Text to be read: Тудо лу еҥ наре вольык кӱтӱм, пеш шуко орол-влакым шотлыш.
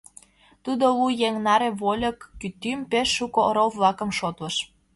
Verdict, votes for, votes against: accepted, 2, 0